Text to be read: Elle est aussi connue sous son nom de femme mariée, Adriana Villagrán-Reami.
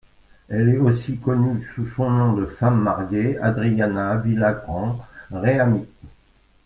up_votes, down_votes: 2, 0